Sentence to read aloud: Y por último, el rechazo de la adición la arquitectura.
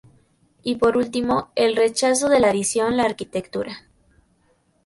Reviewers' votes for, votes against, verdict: 2, 0, accepted